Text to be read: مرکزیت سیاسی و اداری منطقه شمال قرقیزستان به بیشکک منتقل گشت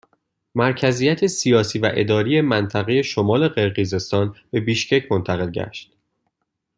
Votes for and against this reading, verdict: 2, 0, accepted